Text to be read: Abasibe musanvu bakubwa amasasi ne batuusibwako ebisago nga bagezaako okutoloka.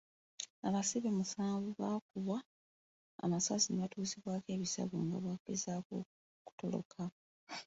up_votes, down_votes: 2, 1